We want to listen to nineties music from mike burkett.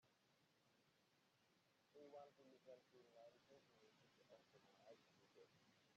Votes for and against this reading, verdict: 0, 2, rejected